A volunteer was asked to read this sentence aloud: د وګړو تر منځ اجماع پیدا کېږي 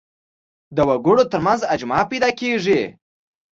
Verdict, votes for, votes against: accepted, 2, 0